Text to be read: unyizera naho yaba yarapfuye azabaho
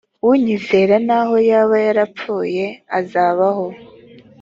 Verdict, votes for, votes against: accepted, 3, 0